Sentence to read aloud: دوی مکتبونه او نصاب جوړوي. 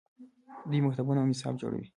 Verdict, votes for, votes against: accepted, 3, 0